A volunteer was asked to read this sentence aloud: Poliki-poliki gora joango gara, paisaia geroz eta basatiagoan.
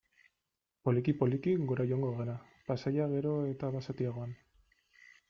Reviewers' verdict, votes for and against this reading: accepted, 3, 0